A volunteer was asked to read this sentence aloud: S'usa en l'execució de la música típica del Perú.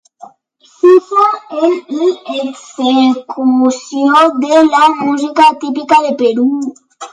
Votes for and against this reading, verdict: 2, 0, accepted